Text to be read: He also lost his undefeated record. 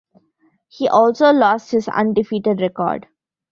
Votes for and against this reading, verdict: 0, 2, rejected